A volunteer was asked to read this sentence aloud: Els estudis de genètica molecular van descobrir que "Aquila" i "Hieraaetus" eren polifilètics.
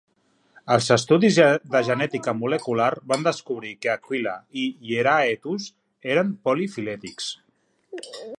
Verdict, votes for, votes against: rejected, 1, 2